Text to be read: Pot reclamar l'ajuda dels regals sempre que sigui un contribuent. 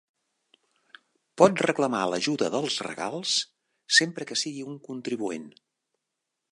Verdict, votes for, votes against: accepted, 3, 0